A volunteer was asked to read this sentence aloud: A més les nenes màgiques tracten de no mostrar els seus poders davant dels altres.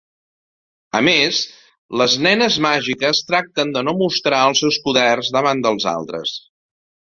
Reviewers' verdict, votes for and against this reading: accepted, 2, 0